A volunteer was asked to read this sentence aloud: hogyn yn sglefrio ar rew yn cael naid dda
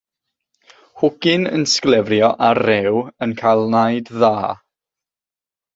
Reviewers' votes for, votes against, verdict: 3, 3, rejected